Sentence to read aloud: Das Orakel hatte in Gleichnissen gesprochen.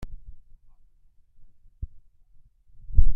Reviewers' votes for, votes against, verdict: 0, 2, rejected